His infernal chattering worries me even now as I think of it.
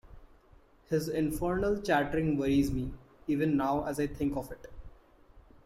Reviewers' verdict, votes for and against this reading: accepted, 2, 0